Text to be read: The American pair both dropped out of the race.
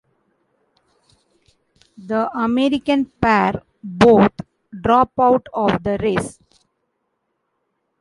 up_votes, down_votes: 1, 2